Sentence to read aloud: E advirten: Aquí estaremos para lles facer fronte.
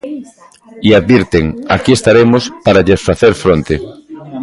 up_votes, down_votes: 1, 2